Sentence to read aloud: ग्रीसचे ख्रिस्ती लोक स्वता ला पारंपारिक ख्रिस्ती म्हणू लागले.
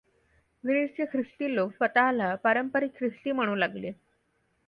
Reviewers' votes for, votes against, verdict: 2, 0, accepted